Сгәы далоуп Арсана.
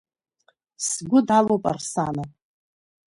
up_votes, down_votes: 2, 0